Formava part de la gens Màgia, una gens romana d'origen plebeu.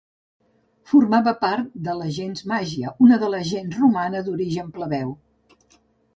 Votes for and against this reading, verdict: 1, 2, rejected